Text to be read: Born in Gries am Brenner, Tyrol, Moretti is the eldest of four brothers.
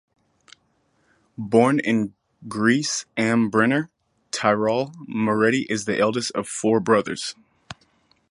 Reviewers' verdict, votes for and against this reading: rejected, 2, 2